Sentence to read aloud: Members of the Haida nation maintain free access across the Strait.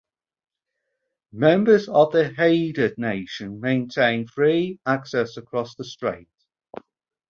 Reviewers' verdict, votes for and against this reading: accepted, 4, 0